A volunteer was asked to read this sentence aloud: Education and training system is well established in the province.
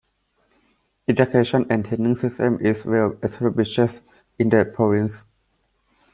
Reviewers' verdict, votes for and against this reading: accepted, 2, 1